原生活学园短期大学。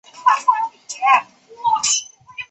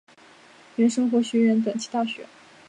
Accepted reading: second